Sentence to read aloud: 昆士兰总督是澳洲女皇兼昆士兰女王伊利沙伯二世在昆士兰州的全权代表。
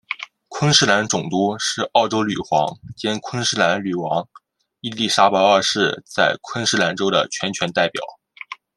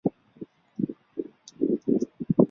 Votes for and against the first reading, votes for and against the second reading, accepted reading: 2, 1, 0, 2, first